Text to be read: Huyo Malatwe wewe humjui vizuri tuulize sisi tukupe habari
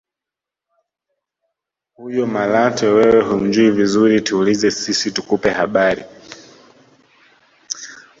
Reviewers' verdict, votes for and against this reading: accepted, 2, 0